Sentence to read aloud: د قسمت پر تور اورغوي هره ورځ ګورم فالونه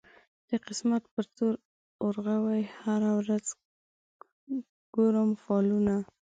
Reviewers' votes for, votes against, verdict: 1, 2, rejected